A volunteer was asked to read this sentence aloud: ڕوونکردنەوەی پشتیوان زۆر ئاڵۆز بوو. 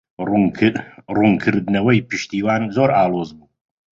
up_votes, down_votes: 1, 2